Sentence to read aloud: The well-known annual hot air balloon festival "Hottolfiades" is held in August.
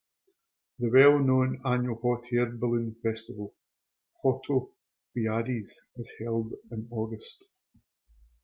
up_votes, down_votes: 1, 2